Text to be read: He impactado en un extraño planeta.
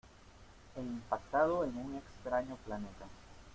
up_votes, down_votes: 2, 0